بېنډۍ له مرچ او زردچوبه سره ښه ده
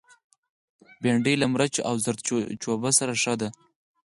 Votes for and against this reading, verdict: 2, 4, rejected